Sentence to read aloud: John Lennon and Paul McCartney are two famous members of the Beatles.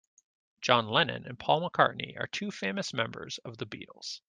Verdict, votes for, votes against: accepted, 2, 0